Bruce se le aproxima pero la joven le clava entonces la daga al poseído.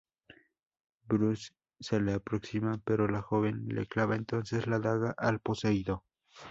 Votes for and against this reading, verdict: 2, 2, rejected